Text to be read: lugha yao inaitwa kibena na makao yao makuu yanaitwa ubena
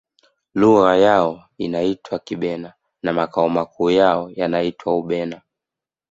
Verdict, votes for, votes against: accepted, 2, 0